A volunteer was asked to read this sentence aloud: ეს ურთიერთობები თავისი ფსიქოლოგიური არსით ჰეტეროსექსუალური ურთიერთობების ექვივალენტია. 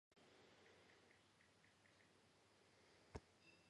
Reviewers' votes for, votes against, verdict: 0, 2, rejected